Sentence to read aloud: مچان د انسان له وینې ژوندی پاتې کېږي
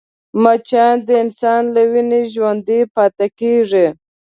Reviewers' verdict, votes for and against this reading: accepted, 2, 0